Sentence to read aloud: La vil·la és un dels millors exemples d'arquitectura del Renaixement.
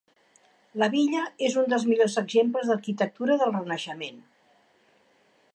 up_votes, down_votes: 1, 3